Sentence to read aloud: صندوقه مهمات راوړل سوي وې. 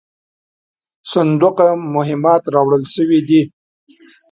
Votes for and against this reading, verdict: 1, 2, rejected